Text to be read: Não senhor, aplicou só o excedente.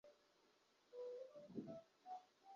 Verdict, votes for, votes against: rejected, 0, 2